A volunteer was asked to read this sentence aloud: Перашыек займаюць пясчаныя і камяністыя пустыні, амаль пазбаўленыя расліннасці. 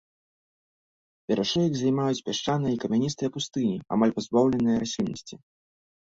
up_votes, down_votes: 2, 0